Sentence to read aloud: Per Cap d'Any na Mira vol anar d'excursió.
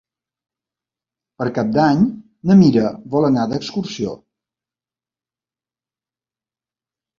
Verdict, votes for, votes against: accepted, 3, 0